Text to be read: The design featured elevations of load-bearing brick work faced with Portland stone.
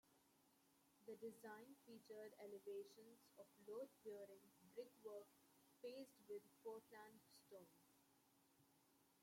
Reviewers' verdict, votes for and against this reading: accepted, 2, 1